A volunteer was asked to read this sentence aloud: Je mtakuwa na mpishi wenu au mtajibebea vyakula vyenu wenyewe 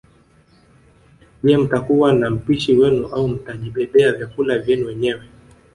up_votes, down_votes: 4, 2